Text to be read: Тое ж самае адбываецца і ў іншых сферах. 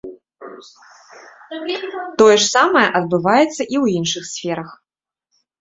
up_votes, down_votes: 1, 2